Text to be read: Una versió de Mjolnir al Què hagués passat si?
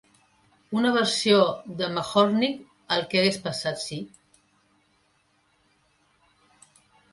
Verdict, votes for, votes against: rejected, 1, 2